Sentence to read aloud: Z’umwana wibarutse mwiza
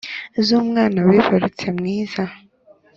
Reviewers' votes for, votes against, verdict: 2, 0, accepted